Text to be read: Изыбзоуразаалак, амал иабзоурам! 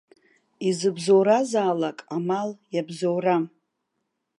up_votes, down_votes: 2, 0